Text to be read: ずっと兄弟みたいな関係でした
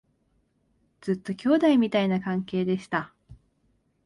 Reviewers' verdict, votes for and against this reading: accepted, 2, 0